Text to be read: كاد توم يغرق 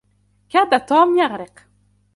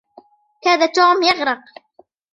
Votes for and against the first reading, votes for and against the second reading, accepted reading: 2, 0, 0, 2, first